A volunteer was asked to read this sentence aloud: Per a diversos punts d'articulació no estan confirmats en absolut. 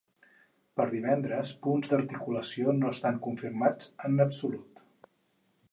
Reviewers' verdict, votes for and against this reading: rejected, 2, 4